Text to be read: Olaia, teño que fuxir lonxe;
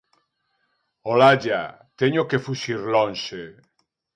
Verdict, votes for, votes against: rejected, 0, 2